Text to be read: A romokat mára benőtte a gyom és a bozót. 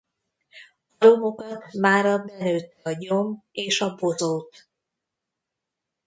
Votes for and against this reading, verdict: 0, 2, rejected